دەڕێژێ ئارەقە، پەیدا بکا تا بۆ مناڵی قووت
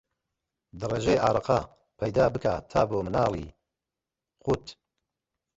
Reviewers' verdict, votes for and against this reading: accepted, 2, 1